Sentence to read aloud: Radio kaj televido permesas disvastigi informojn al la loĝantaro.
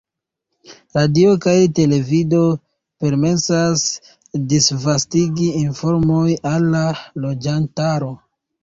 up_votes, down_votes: 1, 2